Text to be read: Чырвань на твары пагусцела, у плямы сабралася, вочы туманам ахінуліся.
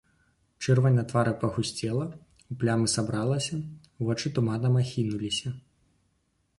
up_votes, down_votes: 1, 2